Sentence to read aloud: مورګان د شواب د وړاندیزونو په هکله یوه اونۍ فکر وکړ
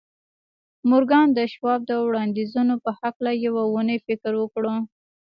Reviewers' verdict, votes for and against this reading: accepted, 2, 0